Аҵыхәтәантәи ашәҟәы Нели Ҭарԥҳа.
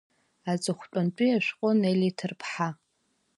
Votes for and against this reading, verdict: 2, 0, accepted